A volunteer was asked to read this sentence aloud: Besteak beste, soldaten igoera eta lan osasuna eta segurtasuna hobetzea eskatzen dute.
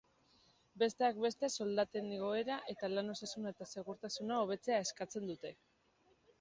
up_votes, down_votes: 2, 0